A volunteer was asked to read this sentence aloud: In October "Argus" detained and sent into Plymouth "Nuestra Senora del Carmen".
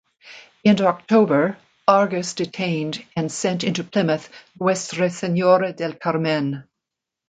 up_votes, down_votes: 0, 2